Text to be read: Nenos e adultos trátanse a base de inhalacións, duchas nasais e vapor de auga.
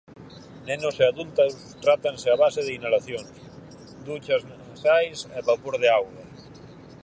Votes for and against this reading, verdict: 2, 2, rejected